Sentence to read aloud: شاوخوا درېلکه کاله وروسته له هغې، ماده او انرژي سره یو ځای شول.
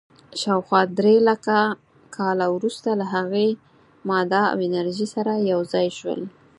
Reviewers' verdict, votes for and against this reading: accepted, 4, 2